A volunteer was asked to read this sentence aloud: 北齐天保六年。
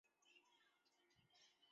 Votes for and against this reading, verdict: 0, 2, rejected